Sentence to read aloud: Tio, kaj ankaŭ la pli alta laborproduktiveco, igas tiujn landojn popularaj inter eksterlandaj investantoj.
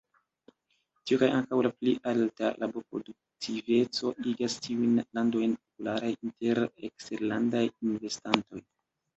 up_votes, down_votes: 1, 2